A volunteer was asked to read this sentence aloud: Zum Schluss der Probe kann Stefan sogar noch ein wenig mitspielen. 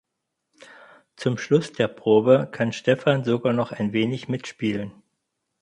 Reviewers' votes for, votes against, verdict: 4, 0, accepted